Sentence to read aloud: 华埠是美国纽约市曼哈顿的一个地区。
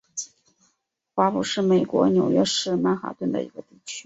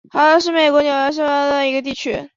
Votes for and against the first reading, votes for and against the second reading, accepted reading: 2, 0, 0, 2, first